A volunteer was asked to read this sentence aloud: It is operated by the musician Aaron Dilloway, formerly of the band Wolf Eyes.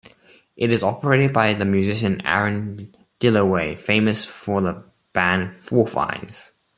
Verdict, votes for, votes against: rejected, 0, 2